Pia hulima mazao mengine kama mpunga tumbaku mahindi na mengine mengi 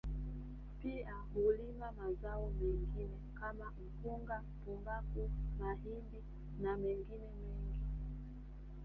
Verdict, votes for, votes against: accepted, 3, 0